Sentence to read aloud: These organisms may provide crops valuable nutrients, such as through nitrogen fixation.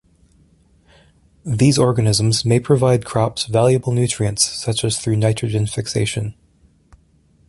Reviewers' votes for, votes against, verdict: 2, 0, accepted